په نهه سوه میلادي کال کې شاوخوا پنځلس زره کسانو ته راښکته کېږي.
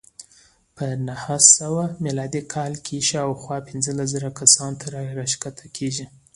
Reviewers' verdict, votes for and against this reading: accepted, 2, 0